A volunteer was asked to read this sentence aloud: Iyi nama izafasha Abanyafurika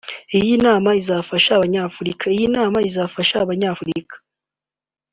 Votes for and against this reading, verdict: 2, 3, rejected